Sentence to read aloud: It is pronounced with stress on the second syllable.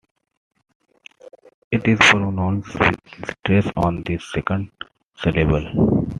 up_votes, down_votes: 2, 1